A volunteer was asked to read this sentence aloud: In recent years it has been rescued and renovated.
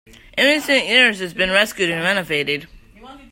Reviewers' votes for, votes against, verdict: 2, 0, accepted